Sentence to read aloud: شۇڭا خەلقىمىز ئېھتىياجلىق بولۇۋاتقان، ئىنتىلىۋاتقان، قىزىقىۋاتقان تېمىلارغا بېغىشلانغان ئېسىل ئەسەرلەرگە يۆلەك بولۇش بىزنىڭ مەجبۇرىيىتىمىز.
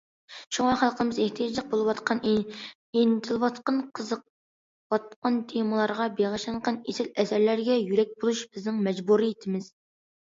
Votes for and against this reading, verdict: 2, 1, accepted